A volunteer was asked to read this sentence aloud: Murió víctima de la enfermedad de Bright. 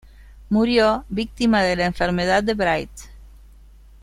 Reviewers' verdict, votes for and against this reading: accepted, 2, 0